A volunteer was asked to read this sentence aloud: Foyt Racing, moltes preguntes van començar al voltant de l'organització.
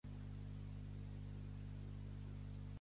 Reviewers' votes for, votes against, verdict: 0, 2, rejected